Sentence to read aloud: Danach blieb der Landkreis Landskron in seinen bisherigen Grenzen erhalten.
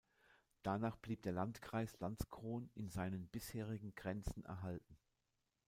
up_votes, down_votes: 2, 0